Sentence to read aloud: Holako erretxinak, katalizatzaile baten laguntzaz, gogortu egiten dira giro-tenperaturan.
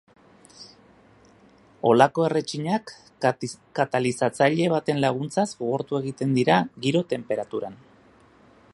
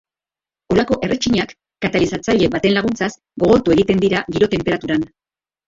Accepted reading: first